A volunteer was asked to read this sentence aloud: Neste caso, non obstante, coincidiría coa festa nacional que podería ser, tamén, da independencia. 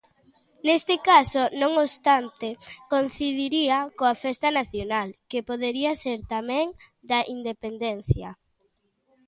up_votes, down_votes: 1, 2